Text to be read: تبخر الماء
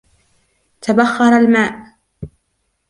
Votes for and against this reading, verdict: 1, 2, rejected